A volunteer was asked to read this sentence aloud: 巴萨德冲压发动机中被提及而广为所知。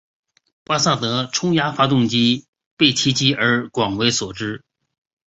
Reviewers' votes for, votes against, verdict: 3, 1, accepted